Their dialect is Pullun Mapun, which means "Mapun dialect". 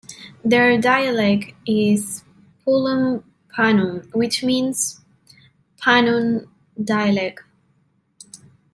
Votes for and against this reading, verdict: 1, 2, rejected